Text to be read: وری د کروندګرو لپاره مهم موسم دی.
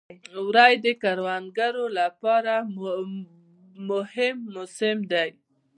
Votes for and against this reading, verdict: 1, 2, rejected